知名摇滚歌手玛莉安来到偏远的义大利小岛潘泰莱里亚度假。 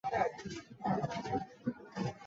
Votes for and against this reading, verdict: 0, 3, rejected